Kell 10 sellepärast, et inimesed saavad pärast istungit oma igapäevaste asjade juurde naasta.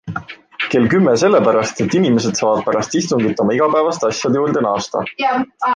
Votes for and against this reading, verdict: 0, 2, rejected